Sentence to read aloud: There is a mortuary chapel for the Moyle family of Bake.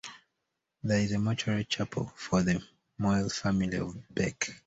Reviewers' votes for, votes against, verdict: 2, 1, accepted